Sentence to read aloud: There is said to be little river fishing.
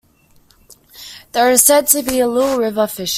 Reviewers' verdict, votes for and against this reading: accepted, 2, 0